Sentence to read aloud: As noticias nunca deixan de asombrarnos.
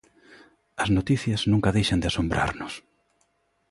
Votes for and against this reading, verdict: 2, 0, accepted